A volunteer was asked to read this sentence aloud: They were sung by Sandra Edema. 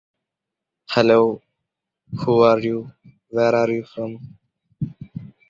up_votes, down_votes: 0, 2